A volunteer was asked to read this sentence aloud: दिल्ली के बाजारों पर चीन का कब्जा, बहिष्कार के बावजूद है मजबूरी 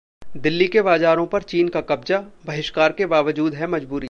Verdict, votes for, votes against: accepted, 2, 0